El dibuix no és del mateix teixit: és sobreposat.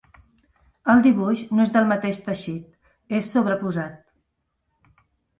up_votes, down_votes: 3, 0